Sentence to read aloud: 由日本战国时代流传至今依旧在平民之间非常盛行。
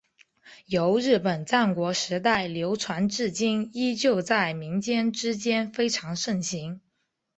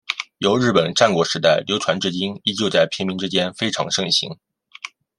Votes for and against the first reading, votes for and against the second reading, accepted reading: 2, 2, 2, 0, second